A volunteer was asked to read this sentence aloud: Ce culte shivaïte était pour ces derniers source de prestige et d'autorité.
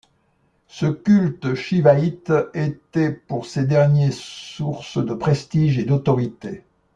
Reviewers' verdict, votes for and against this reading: accepted, 2, 0